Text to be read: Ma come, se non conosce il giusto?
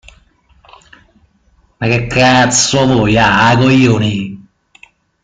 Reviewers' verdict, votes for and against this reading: rejected, 0, 2